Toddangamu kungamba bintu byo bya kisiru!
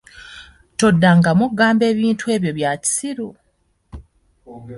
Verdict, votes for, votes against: accepted, 2, 1